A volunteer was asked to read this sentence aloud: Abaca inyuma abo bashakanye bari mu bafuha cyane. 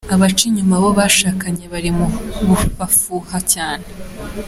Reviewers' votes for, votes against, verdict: 2, 1, accepted